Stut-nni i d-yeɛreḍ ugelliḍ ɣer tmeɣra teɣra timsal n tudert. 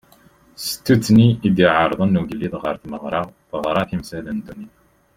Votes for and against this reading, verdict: 2, 3, rejected